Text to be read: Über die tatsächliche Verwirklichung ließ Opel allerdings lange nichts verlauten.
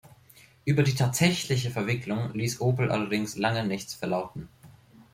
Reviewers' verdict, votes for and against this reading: rejected, 1, 2